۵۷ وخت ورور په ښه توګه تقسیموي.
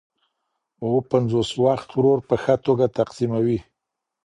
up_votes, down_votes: 0, 2